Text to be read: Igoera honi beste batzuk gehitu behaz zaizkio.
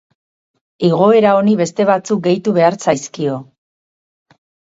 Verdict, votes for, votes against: rejected, 2, 2